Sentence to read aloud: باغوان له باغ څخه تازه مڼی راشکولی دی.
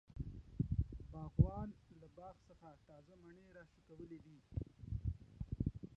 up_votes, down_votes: 2, 0